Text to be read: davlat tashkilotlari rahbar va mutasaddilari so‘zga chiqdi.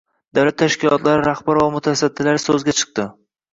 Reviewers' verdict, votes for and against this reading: accepted, 2, 1